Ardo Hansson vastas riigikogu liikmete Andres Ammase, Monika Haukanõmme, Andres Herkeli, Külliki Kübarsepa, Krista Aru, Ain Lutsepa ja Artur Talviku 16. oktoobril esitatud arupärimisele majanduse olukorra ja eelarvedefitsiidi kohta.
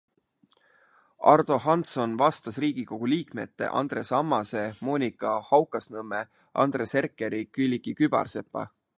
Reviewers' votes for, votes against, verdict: 0, 2, rejected